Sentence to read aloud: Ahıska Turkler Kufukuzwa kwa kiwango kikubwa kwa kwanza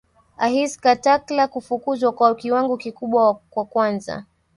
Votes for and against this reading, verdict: 1, 3, rejected